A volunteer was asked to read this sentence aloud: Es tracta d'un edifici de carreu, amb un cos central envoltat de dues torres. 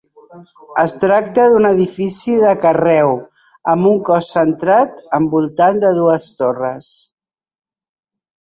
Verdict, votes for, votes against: rejected, 0, 2